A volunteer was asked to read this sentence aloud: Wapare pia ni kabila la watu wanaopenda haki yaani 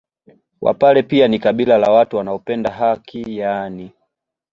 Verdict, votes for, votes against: accepted, 2, 0